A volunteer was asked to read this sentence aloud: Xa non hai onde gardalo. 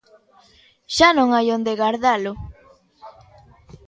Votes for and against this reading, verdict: 1, 2, rejected